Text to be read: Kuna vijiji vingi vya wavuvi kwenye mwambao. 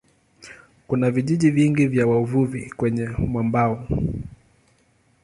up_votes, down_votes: 2, 0